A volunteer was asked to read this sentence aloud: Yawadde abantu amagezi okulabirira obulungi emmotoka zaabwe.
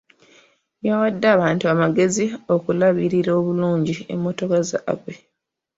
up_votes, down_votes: 2, 1